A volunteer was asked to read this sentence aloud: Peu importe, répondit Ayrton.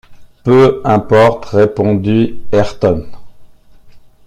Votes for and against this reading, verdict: 2, 0, accepted